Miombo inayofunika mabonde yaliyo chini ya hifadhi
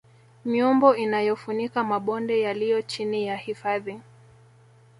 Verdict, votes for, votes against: accepted, 2, 1